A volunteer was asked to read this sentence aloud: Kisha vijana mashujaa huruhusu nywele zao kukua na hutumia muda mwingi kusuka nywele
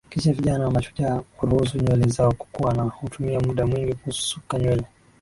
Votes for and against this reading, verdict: 1, 2, rejected